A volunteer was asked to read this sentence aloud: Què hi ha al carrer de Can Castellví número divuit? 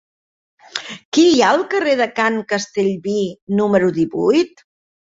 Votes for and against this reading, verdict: 3, 1, accepted